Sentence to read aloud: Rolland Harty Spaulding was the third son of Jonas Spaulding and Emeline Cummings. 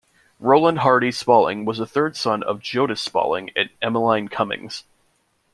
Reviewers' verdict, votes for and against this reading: accepted, 2, 0